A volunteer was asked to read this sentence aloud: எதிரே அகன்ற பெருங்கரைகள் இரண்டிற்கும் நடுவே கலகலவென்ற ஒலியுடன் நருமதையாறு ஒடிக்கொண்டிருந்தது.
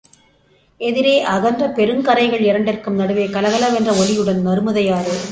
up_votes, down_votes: 0, 2